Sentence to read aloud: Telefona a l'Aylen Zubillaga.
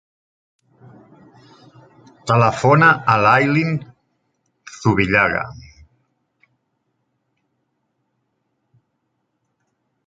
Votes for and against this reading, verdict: 0, 2, rejected